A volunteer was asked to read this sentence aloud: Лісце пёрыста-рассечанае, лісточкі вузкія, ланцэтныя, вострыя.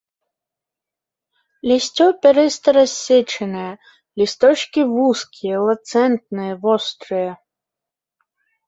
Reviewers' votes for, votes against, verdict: 0, 3, rejected